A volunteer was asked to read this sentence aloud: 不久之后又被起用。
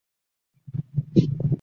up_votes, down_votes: 2, 1